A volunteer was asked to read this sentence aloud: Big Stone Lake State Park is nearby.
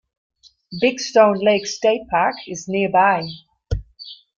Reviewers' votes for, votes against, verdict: 2, 0, accepted